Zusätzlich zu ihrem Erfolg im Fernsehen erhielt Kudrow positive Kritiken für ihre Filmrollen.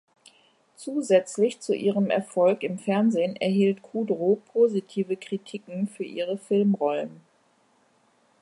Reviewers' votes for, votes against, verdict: 2, 0, accepted